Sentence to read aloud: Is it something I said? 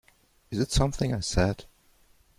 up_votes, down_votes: 2, 0